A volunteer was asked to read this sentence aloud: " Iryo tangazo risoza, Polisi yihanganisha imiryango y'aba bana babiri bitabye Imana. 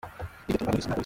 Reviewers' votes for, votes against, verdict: 0, 2, rejected